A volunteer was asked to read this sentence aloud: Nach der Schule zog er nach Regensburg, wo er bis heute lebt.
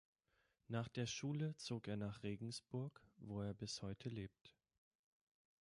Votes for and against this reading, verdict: 2, 0, accepted